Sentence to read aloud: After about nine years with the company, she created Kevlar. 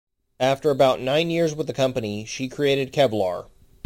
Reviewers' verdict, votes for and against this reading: accepted, 2, 0